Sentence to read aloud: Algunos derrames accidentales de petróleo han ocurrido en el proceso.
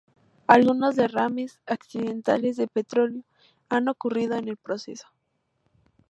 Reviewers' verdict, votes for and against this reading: accepted, 2, 0